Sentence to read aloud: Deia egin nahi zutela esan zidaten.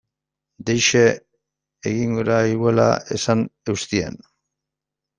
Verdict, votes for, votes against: rejected, 0, 2